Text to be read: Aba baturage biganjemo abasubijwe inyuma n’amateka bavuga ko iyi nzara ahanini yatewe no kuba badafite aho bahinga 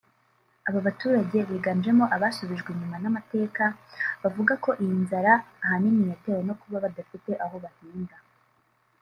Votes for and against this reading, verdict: 1, 2, rejected